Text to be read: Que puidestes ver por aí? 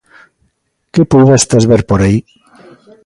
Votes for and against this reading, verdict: 2, 0, accepted